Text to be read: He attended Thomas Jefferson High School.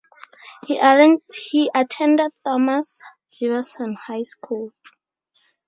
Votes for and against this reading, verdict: 0, 2, rejected